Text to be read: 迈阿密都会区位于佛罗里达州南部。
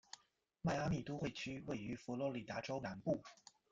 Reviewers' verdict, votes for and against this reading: accepted, 2, 0